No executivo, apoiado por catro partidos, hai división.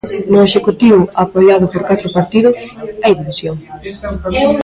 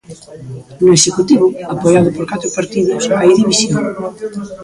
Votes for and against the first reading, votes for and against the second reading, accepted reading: 2, 1, 0, 2, first